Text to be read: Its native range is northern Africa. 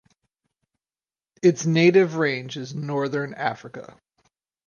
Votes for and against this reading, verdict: 4, 0, accepted